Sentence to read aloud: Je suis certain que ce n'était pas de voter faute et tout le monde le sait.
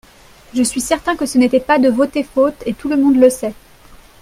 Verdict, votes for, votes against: accepted, 2, 0